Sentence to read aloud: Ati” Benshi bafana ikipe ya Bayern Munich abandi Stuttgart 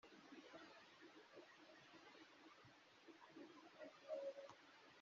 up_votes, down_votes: 0, 2